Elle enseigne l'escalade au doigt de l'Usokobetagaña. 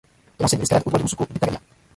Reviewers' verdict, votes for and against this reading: rejected, 0, 2